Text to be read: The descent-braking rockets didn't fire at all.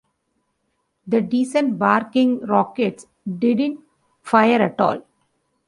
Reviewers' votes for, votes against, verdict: 1, 2, rejected